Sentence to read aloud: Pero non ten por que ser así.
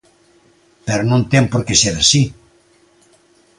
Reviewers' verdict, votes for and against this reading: accepted, 2, 0